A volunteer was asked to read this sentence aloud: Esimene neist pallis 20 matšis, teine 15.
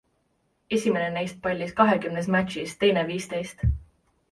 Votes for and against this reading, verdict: 0, 2, rejected